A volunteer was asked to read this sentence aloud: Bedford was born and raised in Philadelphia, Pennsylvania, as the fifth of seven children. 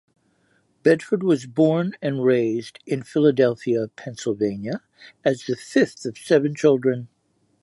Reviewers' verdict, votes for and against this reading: rejected, 1, 2